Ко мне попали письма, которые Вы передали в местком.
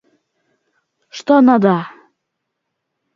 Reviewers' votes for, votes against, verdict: 0, 2, rejected